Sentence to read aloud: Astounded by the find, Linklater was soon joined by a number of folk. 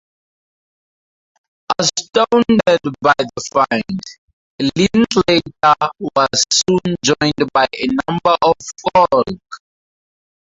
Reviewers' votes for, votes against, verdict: 0, 2, rejected